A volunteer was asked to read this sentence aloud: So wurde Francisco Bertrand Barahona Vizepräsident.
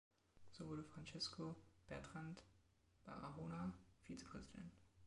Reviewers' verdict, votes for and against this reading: rejected, 1, 2